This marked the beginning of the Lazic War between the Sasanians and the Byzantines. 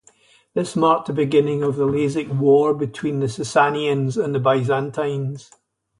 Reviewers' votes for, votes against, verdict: 2, 2, rejected